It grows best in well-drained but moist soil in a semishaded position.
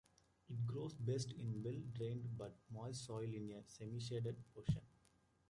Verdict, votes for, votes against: rejected, 1, 2